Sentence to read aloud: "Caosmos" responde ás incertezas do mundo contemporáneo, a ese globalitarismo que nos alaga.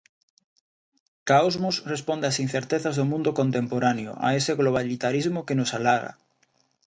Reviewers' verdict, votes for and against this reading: accepted, 2, 0